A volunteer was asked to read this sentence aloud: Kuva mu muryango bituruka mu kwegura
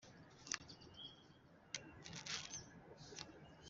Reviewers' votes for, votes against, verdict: 1, 2, rejected